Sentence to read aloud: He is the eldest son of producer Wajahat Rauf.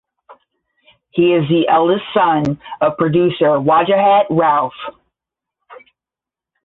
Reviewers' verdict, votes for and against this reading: accepted, 10, 0